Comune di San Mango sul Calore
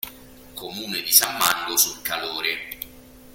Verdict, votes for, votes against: rejected, 1, 2